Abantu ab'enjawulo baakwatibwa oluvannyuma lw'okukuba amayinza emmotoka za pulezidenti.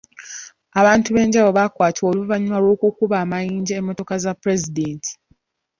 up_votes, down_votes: 0, 3